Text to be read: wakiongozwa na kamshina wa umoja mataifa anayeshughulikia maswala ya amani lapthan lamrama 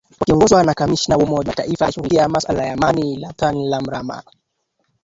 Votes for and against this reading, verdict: 1, 2, rejected